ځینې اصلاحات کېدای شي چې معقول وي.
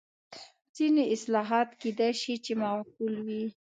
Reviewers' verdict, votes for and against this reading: accepted, 2, 0